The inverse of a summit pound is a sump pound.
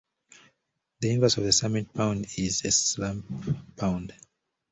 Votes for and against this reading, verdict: 1, 2, rejected